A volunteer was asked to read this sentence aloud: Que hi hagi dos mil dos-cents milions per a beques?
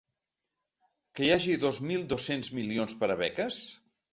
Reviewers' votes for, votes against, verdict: 2, 0, accepted